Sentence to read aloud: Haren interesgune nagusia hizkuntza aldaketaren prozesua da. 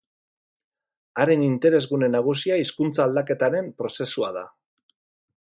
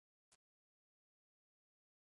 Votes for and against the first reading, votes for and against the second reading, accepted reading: 6, 0, 0, 2, first